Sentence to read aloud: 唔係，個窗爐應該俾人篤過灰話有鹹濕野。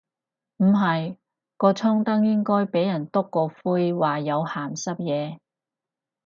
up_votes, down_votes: 0, 4